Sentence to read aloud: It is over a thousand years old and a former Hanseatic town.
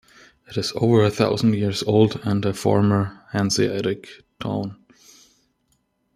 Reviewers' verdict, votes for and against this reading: accepted, 2, 0